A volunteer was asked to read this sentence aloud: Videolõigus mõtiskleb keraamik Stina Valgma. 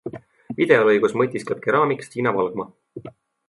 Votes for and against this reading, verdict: 2, 0, accepted